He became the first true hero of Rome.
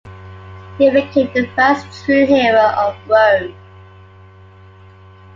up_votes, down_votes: 0, 2